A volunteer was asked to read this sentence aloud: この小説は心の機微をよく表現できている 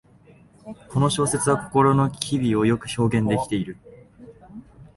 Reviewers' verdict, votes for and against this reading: accepted, 8, 3